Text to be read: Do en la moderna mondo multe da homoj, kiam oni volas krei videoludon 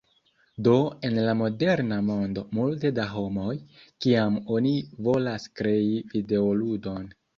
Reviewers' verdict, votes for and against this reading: accepted, 3, 0